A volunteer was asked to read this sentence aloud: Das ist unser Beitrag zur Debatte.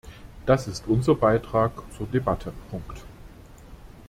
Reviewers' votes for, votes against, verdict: 0, 2, rejected